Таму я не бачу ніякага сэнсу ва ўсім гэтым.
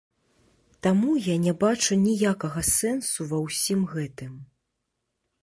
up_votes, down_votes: 2, 0